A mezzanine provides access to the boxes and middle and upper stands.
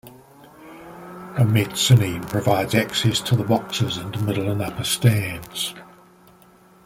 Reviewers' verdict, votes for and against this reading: rejected, 0, 2